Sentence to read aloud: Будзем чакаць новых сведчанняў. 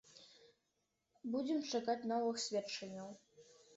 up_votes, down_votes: 2, 0